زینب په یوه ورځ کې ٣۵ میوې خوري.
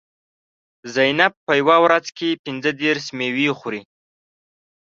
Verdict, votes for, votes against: rejected, 0, 2